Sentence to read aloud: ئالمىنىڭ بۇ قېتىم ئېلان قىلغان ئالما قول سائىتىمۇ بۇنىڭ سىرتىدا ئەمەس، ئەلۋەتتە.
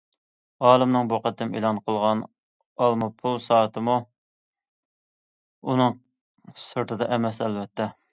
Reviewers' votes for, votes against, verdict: 0, 2, rejected